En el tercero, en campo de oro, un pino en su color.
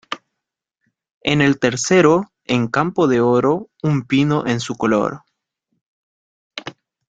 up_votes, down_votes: 2, 0